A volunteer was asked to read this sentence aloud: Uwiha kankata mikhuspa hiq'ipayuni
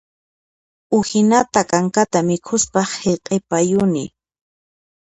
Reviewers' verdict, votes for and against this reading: rejected, 1, 2